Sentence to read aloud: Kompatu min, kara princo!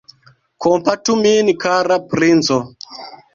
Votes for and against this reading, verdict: 2, 0, accepted